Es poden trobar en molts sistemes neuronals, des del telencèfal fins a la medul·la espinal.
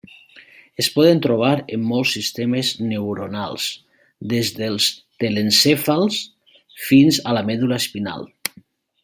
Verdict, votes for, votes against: rejected, 1, 2